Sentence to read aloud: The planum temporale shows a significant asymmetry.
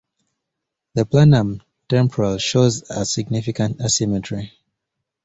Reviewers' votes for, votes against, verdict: 1, 2, rejected